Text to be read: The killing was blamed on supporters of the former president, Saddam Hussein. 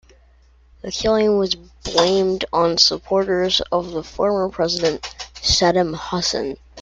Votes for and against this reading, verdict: 1, 2, rejected